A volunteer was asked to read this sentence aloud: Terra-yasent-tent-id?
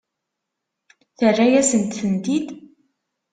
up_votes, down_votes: 2, 0